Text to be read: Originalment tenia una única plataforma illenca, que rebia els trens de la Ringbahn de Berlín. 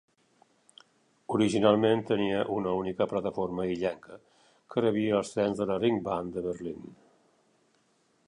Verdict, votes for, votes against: accepted, 2, 1